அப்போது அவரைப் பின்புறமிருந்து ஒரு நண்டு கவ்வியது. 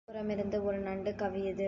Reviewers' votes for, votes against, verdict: 2, 1, accepted